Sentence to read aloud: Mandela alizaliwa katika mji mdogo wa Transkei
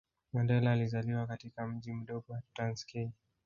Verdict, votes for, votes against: accepted, 2, 0